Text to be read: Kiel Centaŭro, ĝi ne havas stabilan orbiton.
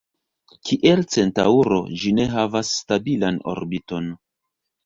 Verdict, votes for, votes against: rejected, 0, 2